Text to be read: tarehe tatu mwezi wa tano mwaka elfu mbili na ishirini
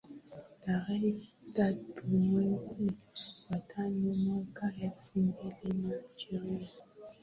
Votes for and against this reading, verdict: 7, 9, rejected